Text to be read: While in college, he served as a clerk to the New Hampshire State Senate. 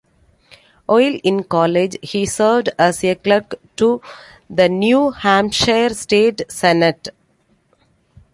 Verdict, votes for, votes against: accepted, 2, 1